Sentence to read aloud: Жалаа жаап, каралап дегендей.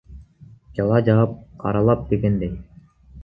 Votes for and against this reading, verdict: 0, 2, rejected